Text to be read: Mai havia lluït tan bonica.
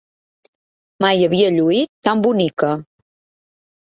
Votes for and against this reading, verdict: 3, 0, accepted